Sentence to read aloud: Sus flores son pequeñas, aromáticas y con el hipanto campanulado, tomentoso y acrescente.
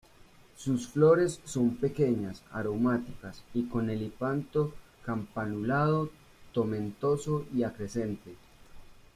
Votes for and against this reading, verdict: 2, 1, accepted